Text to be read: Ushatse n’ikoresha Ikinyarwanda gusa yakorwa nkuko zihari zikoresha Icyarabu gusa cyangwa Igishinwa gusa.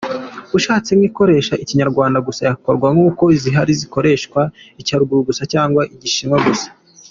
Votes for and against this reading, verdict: 2, 0, accepted